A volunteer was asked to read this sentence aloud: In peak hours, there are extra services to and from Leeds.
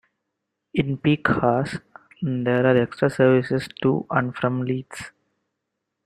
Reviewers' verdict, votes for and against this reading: rejected, 1, 2